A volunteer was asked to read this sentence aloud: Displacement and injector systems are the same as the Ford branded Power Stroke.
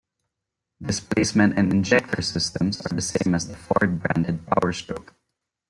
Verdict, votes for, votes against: accepted, 2, 0